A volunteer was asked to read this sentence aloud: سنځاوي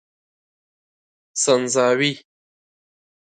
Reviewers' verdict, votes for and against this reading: accepted, 2, 0